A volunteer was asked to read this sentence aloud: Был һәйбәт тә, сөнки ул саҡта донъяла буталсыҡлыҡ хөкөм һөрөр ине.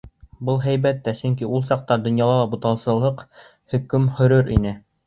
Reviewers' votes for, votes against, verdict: 0, 2, rejected